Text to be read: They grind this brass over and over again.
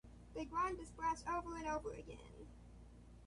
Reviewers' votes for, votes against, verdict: 2, 0, accepted